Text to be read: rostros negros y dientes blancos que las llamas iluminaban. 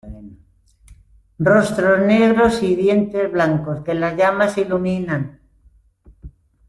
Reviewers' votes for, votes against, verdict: 0, 2, rejected